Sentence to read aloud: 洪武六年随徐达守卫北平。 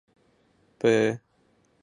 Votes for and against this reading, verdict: 1, 3, rejected